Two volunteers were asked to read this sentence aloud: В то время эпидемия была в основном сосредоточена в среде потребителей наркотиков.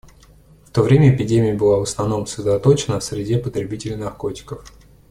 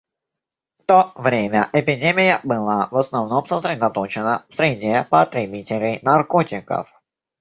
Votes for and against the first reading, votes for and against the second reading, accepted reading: 1, 2, 2, 1, second